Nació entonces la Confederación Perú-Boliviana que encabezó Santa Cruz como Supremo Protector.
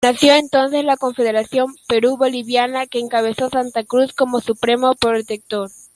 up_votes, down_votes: 2, 1